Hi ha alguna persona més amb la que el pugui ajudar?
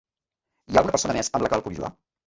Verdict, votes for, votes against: rejected, 1, 2